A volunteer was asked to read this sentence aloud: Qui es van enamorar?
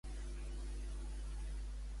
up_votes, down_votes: 0, 2